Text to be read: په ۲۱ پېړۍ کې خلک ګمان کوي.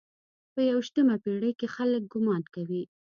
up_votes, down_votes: 0, 2